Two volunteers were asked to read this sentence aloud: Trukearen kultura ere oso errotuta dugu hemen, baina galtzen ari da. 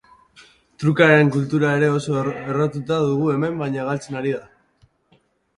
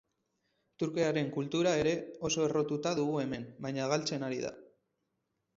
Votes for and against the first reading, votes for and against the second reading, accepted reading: 2, 3, 4, 0, second